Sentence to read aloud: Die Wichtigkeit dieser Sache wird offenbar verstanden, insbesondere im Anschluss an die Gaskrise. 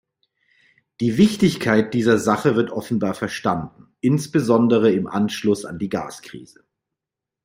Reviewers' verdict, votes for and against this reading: accepted, 2, 0